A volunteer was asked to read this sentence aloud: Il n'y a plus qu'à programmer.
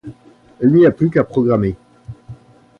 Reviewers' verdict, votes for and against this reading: accepted, 2, 0